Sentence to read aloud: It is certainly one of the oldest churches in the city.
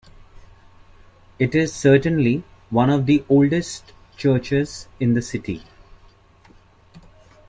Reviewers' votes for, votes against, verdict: 2, 0, accepted